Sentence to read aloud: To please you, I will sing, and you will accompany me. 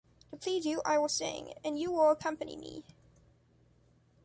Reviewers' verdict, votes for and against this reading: accepted, 2, 0